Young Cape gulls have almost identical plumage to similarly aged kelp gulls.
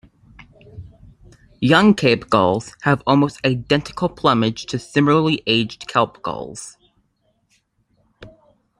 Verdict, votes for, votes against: accepted, 2, 1